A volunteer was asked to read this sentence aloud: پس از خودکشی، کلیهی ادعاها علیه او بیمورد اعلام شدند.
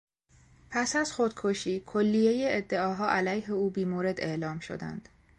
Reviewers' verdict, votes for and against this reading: accepted, 2, 0